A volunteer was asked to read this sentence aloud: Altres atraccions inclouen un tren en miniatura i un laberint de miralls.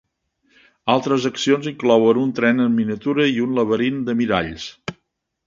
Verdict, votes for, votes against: rejected, 0, 2